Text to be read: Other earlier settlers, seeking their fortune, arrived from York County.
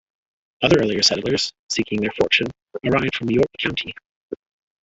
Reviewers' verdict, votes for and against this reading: rejected, 0, 2